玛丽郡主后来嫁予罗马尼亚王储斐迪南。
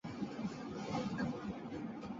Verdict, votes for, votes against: rejected, 1, 2